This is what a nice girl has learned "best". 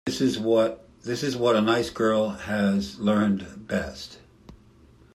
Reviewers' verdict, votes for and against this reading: rejected, 0, 2